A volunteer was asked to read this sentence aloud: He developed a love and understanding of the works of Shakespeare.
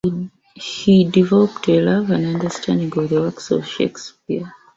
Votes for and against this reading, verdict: 0, 2, rejected